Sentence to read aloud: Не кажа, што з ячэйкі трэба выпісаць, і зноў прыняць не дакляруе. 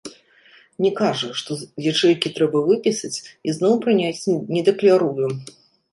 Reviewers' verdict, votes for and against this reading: rejected, 0, 2